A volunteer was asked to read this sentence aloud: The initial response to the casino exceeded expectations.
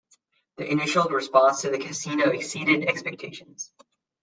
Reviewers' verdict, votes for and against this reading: accepted, 2, 0